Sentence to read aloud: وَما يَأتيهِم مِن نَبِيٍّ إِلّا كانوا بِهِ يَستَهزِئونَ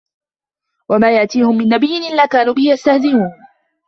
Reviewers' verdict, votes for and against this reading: accepted, 2, 1